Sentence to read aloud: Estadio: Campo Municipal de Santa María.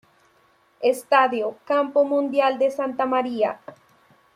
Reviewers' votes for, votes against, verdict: 0, 2, rejected